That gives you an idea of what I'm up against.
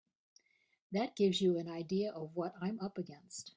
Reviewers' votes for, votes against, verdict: 2, 0, accepted